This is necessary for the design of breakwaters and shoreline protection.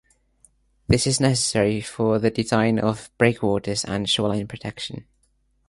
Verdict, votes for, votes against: accepted, 2, 0